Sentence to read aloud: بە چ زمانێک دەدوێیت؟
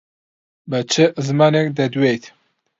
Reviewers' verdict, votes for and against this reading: accepted, 2, 0